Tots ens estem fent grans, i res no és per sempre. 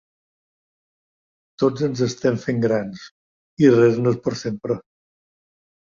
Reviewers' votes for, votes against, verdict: 3, 0, accepted